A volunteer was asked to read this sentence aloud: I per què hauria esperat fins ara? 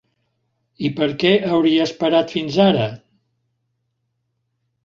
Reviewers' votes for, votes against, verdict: 3, 0, accepted